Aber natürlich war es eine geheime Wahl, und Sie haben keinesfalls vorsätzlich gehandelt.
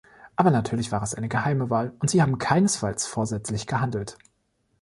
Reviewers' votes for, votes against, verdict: 2, 0, accepted